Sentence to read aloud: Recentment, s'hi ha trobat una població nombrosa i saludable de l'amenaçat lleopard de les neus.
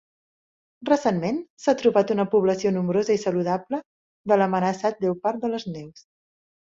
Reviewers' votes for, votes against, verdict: 0, 2, rejected